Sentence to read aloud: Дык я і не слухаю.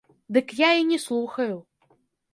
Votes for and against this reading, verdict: 1, 2, rejected